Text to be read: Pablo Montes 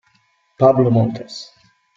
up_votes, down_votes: 2, 0